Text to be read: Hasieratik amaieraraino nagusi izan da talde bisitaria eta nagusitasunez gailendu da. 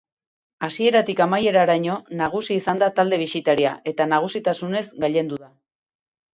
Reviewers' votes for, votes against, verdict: 4, 0, accepted